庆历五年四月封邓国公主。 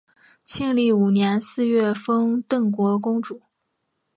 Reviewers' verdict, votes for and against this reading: accepted, 4, 0